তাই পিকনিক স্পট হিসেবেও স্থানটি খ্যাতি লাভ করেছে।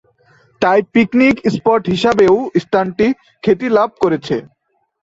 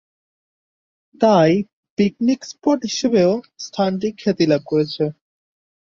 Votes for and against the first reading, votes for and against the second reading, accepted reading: 0, 2, 5, 0, second